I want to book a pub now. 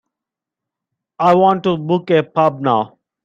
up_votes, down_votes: 3, 0